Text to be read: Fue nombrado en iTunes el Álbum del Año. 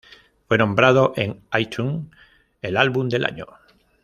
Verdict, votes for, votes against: rejected, 1, 2